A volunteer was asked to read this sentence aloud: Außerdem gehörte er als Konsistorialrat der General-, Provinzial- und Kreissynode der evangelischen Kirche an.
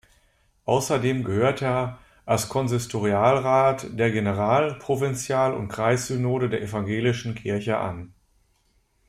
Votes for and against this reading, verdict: 0, 2, rejected